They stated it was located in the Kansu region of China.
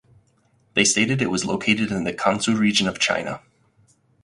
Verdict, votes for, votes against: accepted, 4, 0